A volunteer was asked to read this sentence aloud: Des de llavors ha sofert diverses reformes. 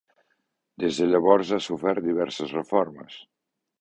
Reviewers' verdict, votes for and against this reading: accepted, 2, 0